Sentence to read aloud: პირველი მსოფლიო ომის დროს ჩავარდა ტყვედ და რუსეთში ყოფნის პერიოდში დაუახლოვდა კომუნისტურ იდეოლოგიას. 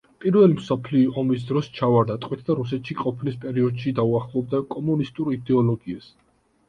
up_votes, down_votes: 2, 0